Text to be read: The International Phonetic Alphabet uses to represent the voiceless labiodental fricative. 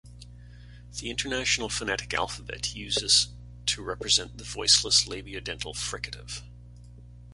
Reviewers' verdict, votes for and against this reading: accepted, 2, 0